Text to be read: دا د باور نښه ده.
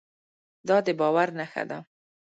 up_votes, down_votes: 1, 2